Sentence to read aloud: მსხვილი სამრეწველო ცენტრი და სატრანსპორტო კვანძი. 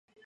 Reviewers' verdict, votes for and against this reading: rejected, 0, 2